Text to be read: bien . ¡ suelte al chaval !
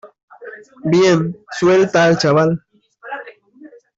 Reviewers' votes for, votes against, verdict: 0, 2, rejected